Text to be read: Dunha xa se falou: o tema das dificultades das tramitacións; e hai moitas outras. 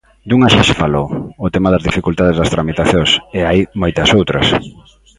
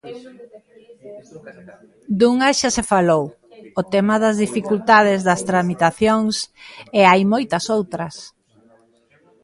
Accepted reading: first